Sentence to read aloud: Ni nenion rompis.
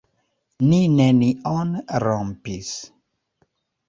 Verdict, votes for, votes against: accepted, 2, 1